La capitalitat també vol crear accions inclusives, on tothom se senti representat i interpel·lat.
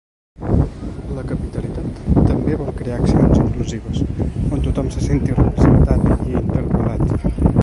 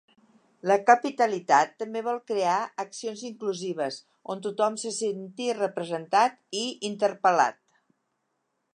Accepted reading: second